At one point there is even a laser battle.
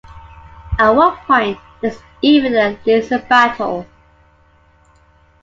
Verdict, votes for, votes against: accepted, 2, 0